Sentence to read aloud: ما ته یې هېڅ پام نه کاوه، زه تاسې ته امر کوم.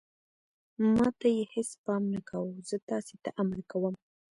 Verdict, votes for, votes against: rejected, 1, 2